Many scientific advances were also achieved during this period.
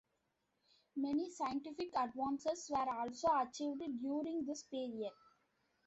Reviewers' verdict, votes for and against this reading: accepted, 2, 0